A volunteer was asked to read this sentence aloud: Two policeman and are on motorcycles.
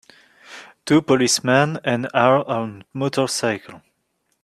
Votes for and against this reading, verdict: 1, 4, rejected